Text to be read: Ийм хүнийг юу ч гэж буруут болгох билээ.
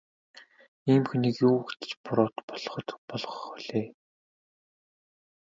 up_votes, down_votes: 1, 2